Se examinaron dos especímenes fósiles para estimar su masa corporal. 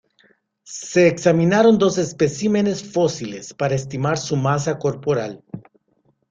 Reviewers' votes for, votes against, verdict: 2, 0, accepted